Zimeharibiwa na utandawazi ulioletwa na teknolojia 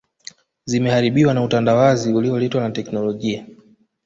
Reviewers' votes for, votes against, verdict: 1, 2, rejected